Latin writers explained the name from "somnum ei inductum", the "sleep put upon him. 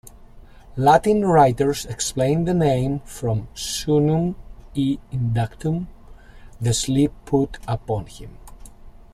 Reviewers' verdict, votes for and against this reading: accepted, 2, 0